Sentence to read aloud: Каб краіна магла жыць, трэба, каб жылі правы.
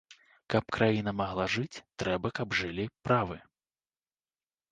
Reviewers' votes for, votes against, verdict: 1, 2, rejected